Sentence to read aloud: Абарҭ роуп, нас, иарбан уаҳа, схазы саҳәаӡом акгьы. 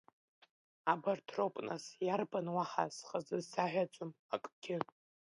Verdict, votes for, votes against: accepted, 2, 1